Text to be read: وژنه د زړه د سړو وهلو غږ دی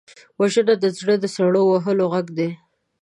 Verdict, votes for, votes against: accepted, 2, 0